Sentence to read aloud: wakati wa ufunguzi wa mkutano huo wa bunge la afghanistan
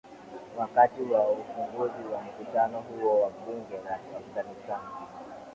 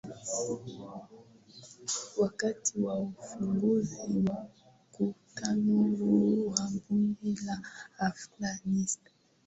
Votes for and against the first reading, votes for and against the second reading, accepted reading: 2, 1, 2, 3, first